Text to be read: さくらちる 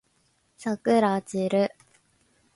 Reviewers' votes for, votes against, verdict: 1, 2, rejected